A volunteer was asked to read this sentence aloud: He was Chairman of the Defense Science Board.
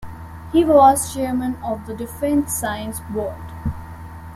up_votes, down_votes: 2, 0